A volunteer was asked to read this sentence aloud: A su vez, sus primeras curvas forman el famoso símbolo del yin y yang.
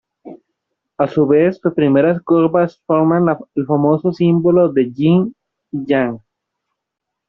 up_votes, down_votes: 0, 2